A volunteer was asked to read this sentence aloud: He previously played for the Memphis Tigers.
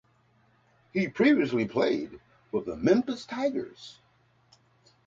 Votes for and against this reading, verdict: 3, 0, accepted